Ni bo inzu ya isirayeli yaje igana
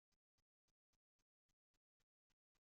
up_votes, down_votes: 1, 2